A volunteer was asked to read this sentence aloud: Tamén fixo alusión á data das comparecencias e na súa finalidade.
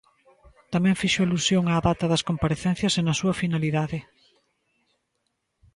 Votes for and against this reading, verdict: 2, 0, accepted